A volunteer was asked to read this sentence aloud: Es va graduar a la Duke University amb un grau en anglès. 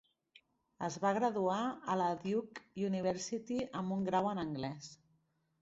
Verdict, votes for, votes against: accepted, 3, 0